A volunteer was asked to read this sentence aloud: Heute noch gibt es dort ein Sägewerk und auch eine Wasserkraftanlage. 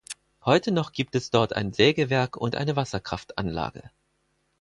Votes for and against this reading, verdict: 2, 4, rejected